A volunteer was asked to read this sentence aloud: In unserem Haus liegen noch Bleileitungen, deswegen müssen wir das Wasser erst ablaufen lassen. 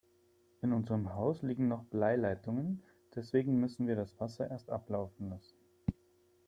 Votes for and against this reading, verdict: 4, 0, accepted